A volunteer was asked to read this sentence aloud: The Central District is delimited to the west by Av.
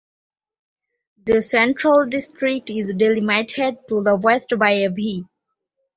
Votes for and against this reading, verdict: 1, 2, rejected